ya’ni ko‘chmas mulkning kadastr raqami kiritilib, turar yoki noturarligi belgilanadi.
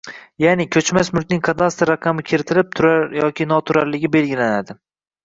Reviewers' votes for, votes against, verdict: 0, 2, rejected